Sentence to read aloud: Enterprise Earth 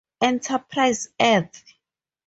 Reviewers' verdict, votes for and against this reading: rejected, 0, 2